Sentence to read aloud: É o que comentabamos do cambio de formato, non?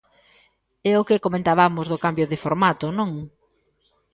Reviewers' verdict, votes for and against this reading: accepted, 2, 0